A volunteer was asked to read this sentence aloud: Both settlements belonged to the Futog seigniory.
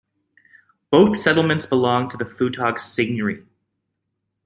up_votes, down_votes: 2, 0